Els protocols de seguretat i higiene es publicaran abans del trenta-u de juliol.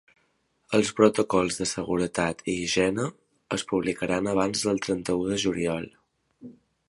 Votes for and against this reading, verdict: 2, 0, accepted